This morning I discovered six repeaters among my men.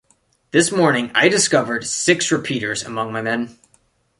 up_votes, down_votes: 2, 0